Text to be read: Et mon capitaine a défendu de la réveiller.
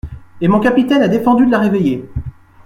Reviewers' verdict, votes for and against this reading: accepted, 2, 0